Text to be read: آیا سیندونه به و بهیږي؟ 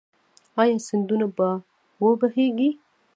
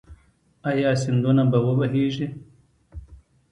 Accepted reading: second